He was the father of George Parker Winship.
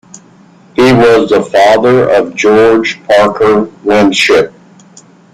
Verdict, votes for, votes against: accepted, 2, 0